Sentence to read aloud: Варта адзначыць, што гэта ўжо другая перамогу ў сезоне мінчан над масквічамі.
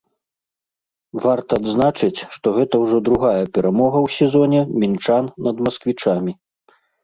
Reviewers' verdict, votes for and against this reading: rejected, 1, 2